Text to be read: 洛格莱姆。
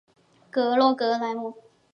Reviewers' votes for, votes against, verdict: 1, 5, rejected